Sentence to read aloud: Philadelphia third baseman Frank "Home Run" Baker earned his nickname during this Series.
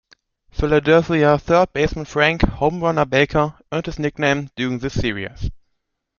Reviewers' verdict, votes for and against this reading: rejected, 0, 2